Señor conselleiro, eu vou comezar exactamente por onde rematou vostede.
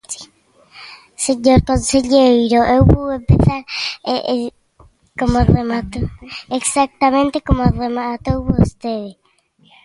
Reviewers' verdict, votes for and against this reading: rejected, 0, 2